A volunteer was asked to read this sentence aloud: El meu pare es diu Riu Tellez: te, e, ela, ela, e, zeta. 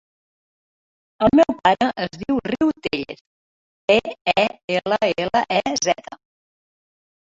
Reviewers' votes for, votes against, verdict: 1, 2, rejected